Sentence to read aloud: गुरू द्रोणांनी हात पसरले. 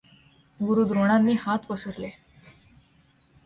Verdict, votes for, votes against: accepted, 2, 0